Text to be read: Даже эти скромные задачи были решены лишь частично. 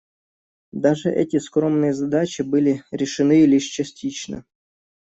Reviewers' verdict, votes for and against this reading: accepted, 2, 0